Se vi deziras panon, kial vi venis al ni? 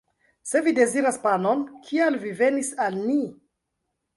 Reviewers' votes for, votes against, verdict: 1, 2, rejected